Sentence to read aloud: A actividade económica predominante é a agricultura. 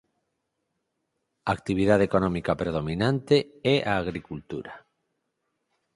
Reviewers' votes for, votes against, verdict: 4, 0, accepted